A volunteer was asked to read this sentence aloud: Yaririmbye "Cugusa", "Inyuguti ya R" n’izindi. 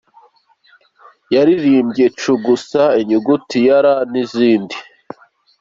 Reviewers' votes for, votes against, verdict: 2, 0, accepted